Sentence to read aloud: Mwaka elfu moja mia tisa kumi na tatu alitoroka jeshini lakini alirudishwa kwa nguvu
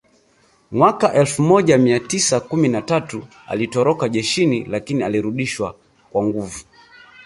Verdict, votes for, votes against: rejected, 0, 2